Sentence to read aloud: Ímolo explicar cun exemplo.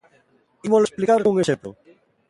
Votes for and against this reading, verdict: 0, 2, rejected